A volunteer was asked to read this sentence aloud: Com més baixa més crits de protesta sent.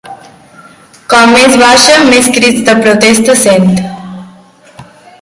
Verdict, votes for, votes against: rejected, 1, 2